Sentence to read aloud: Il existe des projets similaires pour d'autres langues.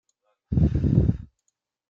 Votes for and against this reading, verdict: 0, 2, rejected